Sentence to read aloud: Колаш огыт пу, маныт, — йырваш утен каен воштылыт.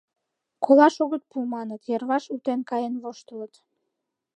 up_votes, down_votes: 2, 0